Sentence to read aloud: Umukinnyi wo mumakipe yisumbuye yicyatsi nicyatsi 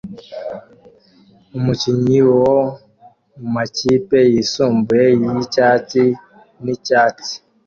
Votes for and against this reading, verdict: 2, 0, accepted